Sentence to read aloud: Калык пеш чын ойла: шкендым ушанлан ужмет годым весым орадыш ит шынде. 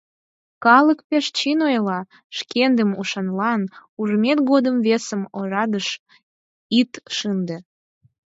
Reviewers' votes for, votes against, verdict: 4, 2, accepted